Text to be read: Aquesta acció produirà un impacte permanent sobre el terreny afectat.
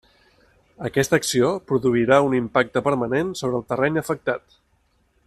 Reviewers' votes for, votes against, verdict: 3, 0, accepted